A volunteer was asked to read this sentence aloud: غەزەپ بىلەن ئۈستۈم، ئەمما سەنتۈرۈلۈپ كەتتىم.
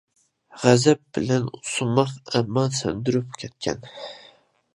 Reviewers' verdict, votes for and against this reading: rejected, 0, 2